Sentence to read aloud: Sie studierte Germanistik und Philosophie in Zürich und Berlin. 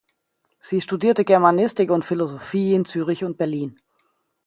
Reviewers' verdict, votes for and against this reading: accepted, 2, 0